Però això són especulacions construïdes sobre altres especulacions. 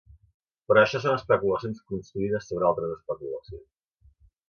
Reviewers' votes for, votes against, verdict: 1, 2, rejected